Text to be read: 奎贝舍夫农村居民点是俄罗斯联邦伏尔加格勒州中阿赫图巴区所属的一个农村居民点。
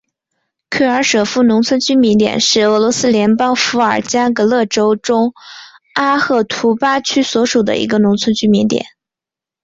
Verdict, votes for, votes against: accepted, 3, 1